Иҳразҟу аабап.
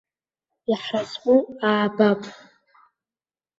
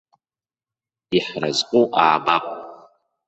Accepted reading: first